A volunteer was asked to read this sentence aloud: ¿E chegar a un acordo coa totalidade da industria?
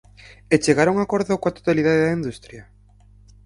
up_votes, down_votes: 4, 2